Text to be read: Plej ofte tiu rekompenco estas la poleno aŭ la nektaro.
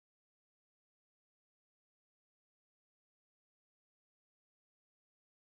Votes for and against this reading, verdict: 0, 2, rejected